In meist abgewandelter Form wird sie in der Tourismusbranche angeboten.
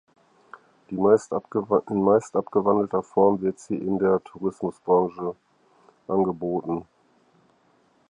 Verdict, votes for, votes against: rejected, 0, 4